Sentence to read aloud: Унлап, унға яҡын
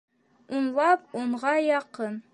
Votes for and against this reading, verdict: 2, 1, accepted